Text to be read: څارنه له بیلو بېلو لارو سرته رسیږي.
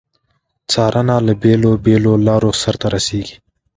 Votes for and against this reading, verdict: 2, 0, accepted